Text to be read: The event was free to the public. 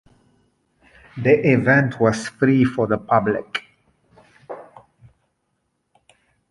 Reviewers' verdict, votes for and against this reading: rejected, 0, 2